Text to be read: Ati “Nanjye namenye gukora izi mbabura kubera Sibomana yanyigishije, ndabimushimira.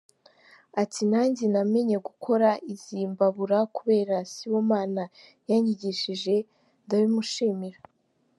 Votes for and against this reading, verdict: 2, 0, accepted